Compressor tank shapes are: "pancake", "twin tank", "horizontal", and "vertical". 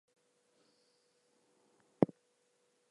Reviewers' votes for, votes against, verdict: 0, 2, rejected